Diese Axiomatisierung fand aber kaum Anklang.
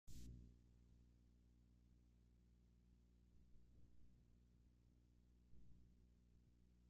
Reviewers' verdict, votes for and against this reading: rejected, 0, 2